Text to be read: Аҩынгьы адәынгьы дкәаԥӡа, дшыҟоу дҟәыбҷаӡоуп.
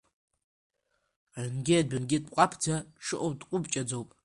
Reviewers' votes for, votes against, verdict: 0, 2, rejected